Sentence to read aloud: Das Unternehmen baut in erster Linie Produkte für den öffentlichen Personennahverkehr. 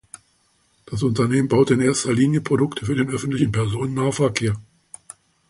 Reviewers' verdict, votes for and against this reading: rejected, 1, 2